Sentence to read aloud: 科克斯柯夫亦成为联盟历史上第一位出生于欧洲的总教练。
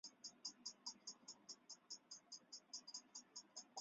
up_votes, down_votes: 0, 3